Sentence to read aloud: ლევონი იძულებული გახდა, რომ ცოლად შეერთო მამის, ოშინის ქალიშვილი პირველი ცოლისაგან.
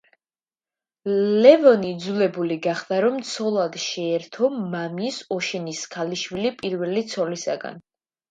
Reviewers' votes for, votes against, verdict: 2, 0, accepted